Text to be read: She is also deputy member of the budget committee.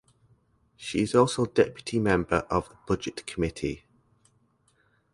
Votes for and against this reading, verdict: 4, 0, accepted